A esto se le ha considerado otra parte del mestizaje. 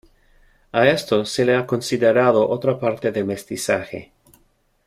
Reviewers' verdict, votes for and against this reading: accepted, 2, 0